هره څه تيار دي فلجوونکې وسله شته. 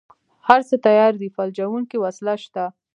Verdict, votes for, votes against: accepted, 2, 0